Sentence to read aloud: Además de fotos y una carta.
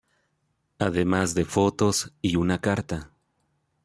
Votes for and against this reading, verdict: 2, 0, accepted